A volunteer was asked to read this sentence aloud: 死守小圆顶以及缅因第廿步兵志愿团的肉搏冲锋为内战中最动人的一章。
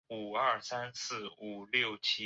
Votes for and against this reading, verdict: 1, 2, rejected